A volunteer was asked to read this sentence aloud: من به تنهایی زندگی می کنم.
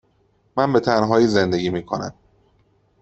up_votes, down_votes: 2, 0